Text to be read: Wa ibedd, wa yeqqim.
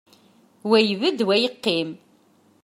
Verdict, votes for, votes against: accepted, 2, 0